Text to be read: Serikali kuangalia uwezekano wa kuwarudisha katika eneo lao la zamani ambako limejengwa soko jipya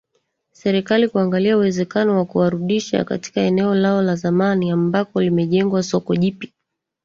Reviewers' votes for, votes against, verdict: 1, 2, rejected